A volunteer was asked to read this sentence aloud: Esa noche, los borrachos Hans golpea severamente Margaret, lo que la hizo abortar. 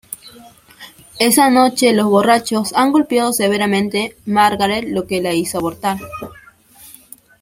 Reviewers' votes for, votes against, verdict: 0, 2, rejected